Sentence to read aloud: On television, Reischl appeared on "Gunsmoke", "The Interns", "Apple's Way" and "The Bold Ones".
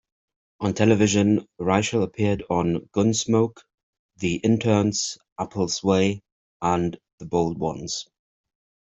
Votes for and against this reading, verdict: 2, 0, accepted